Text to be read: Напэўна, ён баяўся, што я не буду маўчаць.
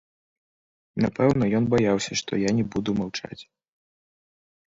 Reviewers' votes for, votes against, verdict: 1, 2, rejected